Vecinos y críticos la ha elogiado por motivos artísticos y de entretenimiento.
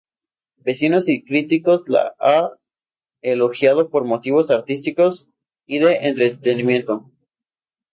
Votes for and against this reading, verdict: 0, 2, rejected